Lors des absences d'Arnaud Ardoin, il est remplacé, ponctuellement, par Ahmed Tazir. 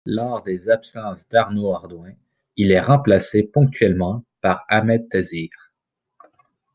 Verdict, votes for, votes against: accepted, 2, 0